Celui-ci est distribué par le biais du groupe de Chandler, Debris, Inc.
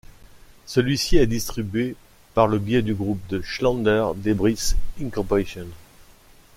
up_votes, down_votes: 1, 2